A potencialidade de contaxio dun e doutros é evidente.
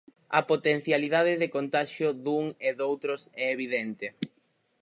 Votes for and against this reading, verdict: 4, 0, accepted